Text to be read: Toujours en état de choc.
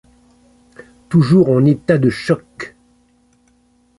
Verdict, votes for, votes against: accepted, 2, 0